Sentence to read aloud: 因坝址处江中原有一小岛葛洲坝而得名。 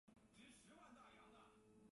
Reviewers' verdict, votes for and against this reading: rejected, 0, 2